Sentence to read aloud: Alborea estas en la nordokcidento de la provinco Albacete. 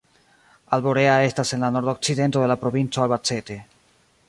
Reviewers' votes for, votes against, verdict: 3, 0, accepted